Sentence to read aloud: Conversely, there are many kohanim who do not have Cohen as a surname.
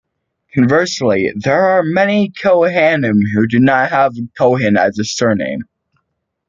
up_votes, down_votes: 2, 0